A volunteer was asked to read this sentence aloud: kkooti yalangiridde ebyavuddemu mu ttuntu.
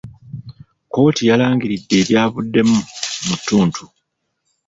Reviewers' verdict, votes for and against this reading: rejected, 1, 2